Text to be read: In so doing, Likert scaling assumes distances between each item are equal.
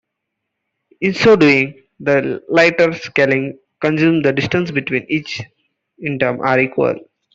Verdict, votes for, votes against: rejected, 0, 2